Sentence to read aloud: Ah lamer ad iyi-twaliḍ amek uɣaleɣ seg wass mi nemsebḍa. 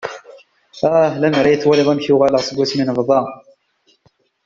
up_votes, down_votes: 1, 2